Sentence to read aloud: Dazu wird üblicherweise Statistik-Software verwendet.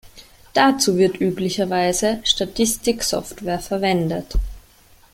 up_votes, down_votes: 2, 1